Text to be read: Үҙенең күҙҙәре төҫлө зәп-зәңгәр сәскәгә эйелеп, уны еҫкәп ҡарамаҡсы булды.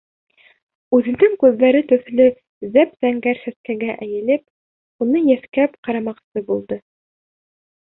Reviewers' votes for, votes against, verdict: 3, 0, accepted